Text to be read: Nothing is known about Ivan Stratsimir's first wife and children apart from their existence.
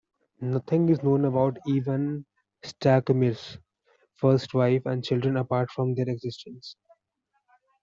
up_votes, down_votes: 1, 2